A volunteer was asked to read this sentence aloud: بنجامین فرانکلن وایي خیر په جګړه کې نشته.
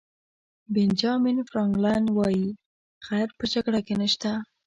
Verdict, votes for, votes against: accepted, 2, 0